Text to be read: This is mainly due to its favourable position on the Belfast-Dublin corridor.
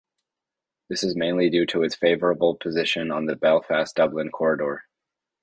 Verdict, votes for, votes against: accepted, 2, 0